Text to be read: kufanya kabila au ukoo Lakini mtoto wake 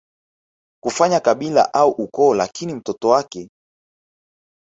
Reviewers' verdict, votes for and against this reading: rejected, 1, 2